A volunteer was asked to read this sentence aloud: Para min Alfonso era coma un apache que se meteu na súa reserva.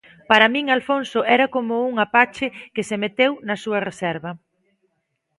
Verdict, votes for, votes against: accepted, 2, 0